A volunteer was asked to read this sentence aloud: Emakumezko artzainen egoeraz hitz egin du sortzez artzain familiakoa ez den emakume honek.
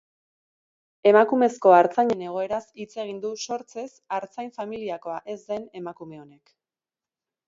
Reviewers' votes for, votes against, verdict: 2, 0, accepted